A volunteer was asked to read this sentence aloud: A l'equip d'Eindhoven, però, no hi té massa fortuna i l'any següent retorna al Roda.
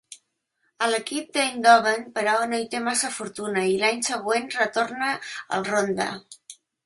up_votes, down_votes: 0, 4